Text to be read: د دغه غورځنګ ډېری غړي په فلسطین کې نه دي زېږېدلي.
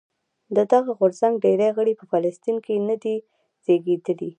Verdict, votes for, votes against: accepted, 2, 0